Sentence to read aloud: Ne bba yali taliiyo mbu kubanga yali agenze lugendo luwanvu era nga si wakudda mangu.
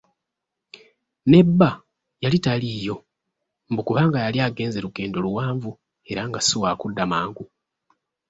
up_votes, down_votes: 2, 0